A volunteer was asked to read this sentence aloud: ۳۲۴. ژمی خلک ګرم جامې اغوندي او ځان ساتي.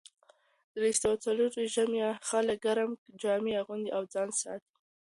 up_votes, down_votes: 0, 2